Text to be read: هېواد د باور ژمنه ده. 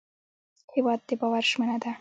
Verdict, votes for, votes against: accepted, 2, 0